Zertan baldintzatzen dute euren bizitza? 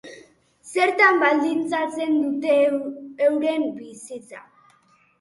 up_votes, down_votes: 0, 2